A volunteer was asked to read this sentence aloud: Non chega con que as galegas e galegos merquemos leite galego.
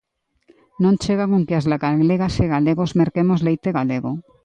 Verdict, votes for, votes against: rejected, 1, 2